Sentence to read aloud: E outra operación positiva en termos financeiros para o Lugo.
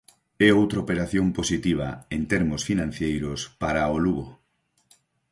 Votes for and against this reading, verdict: 0, 4, rejected